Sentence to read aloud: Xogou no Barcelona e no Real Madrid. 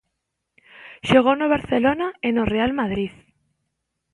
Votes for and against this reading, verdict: 2, 0, accepted